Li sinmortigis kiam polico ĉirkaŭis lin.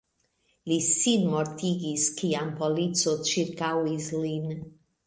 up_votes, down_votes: 1, 2